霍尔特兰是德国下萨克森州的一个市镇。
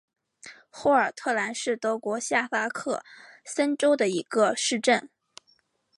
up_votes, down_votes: 2, 1